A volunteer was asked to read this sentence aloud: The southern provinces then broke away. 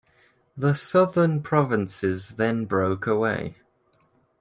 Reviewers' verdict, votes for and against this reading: accepted, 2, 0